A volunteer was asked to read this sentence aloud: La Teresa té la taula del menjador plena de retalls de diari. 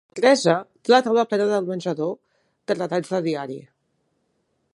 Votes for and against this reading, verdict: 0, 2, rejected